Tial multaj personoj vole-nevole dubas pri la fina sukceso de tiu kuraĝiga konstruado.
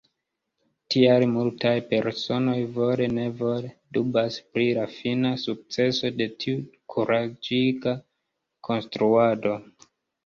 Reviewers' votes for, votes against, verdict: 0, 2, rejected